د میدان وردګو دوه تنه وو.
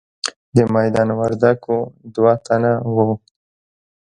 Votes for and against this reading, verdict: 2, 0, accepted